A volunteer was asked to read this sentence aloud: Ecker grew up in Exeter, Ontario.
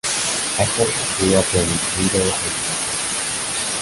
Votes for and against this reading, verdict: 0, 2, rejected